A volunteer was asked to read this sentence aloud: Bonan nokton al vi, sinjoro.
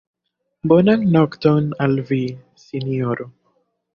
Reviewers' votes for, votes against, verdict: 2, 0, accepted